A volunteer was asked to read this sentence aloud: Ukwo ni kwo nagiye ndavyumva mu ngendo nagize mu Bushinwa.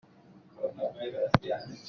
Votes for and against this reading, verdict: 0, 2, rejected